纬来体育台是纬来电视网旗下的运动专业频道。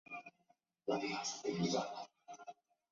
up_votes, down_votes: 1, 2